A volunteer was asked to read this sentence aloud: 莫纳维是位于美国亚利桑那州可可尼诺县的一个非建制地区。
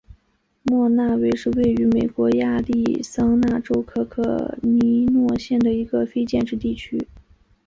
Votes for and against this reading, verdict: 0, 3, rejected